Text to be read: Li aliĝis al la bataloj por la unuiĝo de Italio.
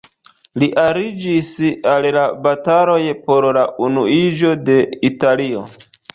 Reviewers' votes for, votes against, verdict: 0, 2, rejected